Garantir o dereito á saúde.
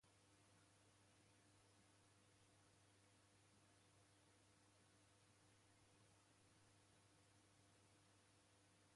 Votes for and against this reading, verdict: 0, 2, rejected